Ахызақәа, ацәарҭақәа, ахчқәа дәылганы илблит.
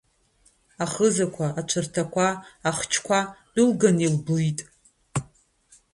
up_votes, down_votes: 1, 2